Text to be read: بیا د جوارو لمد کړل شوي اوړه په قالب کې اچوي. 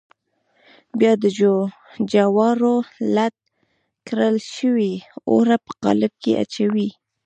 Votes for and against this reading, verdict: 0, 2, rejected